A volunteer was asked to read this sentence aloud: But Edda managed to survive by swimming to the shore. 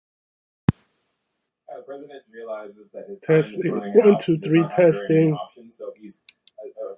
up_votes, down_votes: 0, 2